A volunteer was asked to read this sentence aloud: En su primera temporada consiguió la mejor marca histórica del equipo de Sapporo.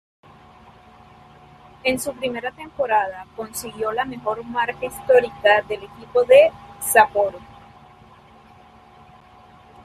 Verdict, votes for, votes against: rejected, 1, 2